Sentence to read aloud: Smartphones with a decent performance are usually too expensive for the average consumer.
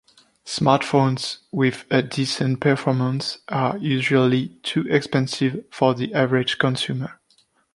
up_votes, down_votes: 2, 0